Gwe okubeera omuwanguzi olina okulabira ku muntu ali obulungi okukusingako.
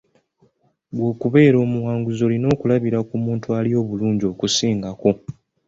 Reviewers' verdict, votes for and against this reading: rejected, 0, 2